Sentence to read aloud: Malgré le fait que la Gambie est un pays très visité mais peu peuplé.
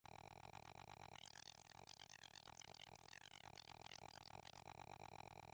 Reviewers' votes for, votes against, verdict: 0, 2, rejected